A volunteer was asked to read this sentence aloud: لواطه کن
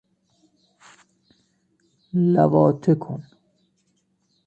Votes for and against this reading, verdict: 1, 2, rejected